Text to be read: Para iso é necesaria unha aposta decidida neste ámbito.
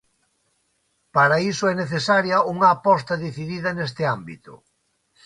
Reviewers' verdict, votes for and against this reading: accepted, 2, 0